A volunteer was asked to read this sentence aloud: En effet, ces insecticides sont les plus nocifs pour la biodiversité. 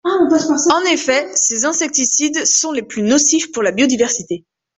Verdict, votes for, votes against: rejected, 0, 2